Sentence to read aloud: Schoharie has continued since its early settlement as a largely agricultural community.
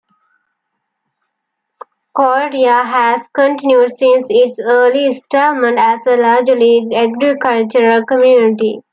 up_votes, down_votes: 0, 2